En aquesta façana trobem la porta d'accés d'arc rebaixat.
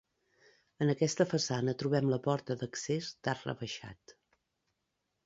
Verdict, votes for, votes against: accepted, 2, 0